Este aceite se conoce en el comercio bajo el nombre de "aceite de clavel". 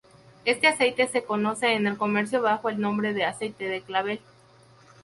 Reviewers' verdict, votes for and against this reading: rejected, 0, 2